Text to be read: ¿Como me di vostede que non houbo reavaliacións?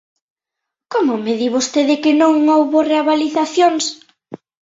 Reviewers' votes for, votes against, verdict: 2, 1, accepted